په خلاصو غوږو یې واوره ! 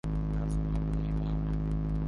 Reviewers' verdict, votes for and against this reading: rejected, 0, 2